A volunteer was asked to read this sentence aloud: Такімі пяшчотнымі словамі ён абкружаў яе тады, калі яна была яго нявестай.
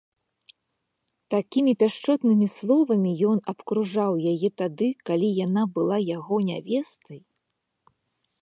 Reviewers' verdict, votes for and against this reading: accepted, 2, 0